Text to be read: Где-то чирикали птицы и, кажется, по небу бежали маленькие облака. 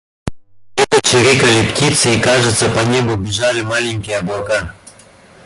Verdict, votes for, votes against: rejected, 0, 2